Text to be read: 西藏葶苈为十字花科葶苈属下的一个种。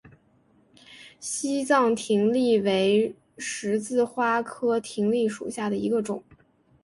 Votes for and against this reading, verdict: 2, 0, accepted